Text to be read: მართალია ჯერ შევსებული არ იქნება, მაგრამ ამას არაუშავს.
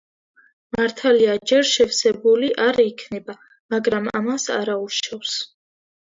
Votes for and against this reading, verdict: 2, 0, accepted